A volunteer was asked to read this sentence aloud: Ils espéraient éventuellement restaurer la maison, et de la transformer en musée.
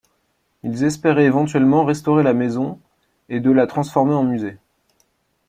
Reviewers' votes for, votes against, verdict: 2, 0, accepted